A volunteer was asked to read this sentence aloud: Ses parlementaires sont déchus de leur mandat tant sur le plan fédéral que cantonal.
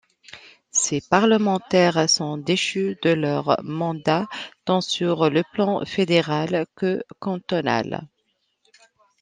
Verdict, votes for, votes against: accepted, 2, 0